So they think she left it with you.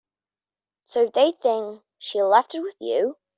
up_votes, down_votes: 2, 0